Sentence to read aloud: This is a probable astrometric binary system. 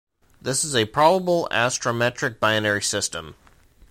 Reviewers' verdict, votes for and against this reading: accepted, 2, 0